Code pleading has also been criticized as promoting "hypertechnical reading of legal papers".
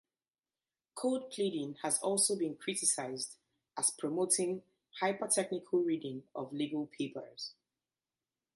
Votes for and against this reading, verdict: 2, 0, accepted